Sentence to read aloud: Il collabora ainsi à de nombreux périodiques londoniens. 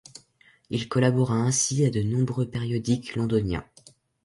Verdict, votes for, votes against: accepted, 2, 0